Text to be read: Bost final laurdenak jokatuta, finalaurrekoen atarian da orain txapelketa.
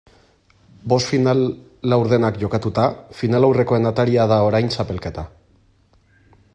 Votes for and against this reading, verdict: 0, 2, rejected